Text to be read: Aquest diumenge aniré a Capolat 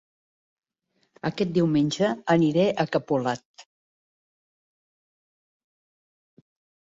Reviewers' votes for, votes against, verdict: 2, 0, accepted